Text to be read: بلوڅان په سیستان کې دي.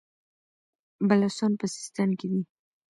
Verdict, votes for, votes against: rejected, 1, 2